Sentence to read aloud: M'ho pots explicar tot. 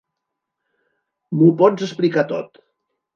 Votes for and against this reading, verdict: 2, 0, accepted